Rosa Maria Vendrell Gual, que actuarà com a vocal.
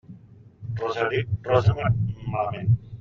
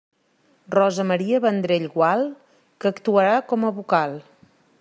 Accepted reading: second